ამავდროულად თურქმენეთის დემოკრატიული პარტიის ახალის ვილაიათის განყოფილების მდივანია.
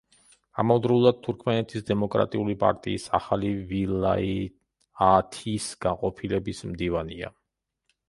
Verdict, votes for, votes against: rejected, 1, 2